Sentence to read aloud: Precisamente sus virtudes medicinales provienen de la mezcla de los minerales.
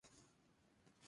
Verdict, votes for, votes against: accepted, 2, 0